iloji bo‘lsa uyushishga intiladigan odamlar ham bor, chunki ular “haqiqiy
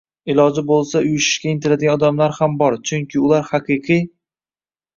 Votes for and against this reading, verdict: 2, 0, accepted